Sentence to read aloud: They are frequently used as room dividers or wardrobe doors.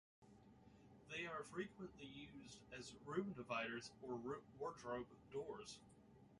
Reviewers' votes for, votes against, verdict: 0, 2, rejected